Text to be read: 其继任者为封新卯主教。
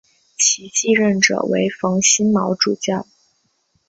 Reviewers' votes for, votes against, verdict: 4, 1, accepted